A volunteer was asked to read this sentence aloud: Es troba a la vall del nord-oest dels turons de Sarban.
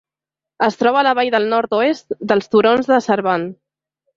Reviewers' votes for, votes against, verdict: 3, 0, accepted